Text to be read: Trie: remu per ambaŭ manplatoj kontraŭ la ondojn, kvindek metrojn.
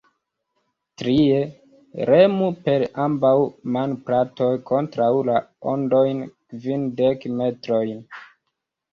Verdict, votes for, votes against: rejected, 1, 2